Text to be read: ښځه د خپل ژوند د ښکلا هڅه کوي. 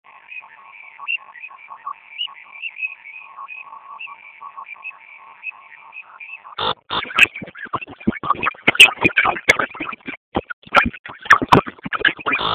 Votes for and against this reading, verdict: 0, 2, rejected